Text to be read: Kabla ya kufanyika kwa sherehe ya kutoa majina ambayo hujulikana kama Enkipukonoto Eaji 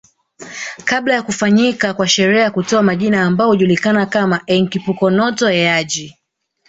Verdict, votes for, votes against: rejected, 0, 2